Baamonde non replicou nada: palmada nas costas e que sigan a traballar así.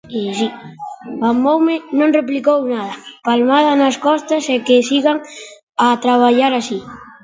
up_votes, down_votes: 1, 2